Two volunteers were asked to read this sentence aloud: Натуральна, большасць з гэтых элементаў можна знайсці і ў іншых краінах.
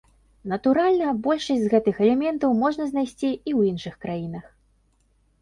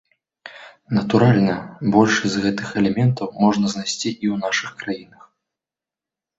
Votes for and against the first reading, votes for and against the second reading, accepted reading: 2, 0, 0, 2, first